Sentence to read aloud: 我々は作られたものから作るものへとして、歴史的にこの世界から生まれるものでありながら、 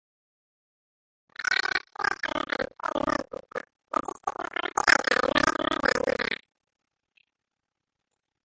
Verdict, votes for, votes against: rejected, 0, 2